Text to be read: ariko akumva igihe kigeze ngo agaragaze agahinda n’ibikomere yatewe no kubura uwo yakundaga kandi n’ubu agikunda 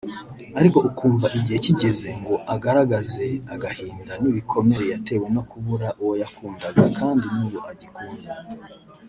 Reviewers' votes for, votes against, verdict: 1, 2, rejected